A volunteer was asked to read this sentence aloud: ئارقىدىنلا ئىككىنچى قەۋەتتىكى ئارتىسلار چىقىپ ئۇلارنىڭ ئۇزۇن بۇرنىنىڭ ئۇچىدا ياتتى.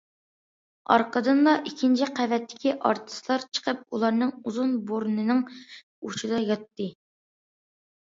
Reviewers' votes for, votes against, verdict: 2, 0, accepted